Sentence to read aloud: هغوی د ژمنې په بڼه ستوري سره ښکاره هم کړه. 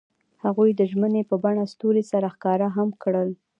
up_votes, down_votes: 2, 0